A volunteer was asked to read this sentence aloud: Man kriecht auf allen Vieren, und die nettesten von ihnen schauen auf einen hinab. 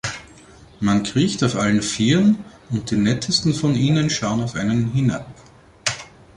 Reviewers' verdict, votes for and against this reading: accepted, 2, 0